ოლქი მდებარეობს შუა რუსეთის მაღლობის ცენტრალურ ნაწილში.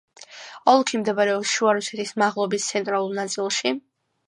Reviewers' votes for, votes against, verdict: 2, 0, accepted